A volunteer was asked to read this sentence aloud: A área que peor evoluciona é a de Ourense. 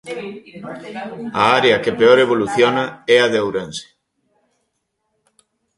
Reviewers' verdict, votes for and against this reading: rejected, 1, 2